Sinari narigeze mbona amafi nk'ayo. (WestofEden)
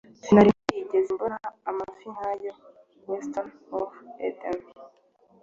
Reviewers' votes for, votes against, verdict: 2, 0, accepted